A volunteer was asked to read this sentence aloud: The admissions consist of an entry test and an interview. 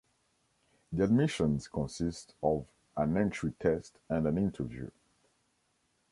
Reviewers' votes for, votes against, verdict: 0, 2, rejected